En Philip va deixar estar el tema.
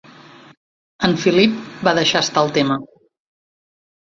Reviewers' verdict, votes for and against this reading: rejected, 1, 2